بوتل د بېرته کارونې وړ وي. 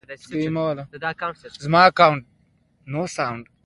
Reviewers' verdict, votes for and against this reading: rejected, 1, 2